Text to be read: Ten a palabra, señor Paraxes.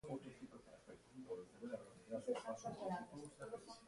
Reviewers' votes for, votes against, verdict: 0, 2, rejected